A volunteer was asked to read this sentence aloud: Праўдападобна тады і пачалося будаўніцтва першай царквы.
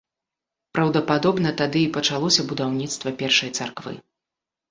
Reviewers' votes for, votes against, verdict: 2, 0, accepted